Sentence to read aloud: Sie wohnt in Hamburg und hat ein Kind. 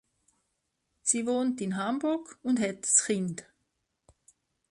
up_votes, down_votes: 0, 2